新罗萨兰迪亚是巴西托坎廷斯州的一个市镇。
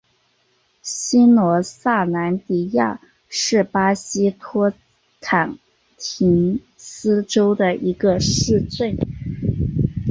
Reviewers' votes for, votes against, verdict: 3, 2, accepted